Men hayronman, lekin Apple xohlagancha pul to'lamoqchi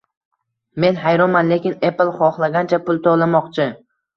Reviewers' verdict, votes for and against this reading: accepted, 2, 0